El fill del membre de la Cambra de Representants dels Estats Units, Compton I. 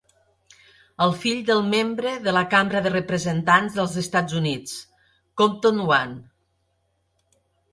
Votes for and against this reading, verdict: 4, 0, accepted